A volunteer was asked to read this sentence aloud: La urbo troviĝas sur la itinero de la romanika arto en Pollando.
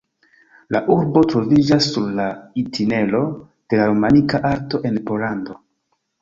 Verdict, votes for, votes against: rejected, 1, 2